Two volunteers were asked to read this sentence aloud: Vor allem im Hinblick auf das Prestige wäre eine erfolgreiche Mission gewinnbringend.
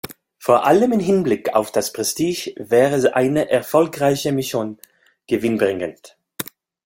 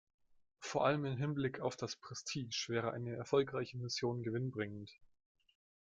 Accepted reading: second